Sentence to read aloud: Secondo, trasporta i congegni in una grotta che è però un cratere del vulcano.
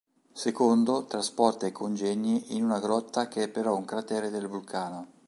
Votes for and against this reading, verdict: 3, 0, accepted